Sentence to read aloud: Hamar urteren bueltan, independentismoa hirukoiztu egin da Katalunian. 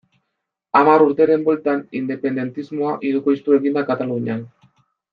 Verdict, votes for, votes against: accepted, 2, 0